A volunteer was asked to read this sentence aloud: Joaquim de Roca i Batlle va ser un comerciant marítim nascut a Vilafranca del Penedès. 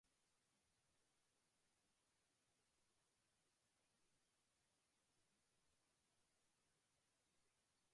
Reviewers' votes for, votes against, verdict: 0, 2, rejected